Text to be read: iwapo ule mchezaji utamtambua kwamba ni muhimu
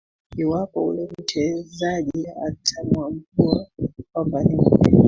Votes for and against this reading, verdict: 0, 2, rejected